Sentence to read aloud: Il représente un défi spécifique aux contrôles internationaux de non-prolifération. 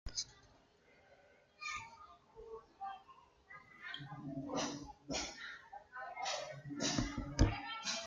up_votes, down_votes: 0, 2